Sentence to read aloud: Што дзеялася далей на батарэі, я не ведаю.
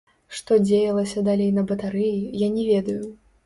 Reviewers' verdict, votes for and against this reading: rejected, 0, 2